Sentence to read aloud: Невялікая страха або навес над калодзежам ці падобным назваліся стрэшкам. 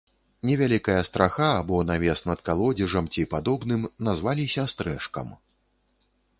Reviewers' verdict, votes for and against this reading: accepted, 2, 0